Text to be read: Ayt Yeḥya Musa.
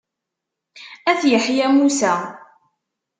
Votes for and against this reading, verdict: 2, 0, accepted